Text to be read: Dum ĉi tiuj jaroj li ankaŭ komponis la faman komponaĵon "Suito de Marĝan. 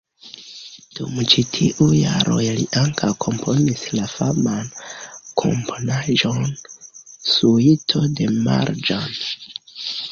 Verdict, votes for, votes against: rejected, 0, 2